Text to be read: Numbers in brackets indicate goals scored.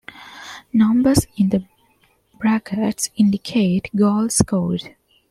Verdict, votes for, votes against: accepted, 2, 1